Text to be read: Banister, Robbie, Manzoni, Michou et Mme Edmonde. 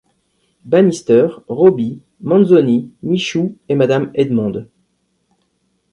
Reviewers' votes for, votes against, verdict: 2, 0, accepted